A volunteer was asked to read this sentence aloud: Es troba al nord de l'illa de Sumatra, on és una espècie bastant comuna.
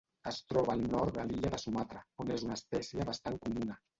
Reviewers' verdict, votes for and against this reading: rejected, 1, 2